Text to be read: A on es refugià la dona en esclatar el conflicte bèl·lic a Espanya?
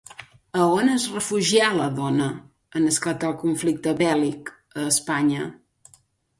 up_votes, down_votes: 2, 0